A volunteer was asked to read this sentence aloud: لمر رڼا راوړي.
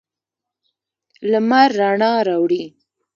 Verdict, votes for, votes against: rejected, 1, 2